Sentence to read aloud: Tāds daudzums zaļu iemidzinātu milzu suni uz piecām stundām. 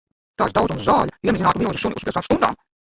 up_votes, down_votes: 0, 2